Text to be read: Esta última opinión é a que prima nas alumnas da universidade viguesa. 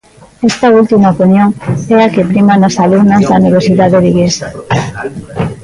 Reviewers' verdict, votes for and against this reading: rejected, 0, 2